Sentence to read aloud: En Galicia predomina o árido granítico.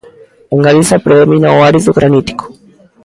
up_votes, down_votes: 0, 2